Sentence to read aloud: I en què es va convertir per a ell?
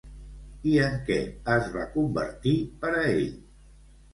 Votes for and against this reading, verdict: 2, 0, accepted